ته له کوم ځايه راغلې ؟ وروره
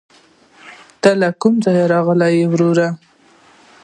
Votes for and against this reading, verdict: 2, 0, accepted